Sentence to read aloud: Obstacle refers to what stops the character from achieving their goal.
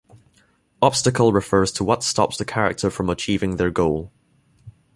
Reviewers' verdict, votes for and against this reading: accepted, 2, 0